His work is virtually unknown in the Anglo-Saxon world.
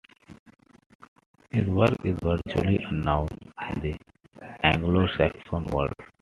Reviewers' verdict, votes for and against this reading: rejected, 0, 2